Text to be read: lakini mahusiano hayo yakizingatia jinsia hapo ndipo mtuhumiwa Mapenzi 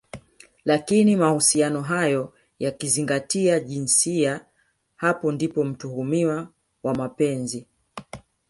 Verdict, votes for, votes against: rejected, 1, 2